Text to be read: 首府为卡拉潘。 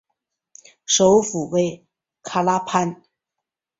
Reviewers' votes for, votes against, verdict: 2, 0, accepted